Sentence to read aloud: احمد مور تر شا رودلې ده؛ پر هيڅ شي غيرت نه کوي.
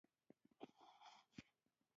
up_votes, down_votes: 1, 2